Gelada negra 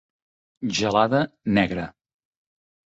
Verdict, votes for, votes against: accepted, 2, 0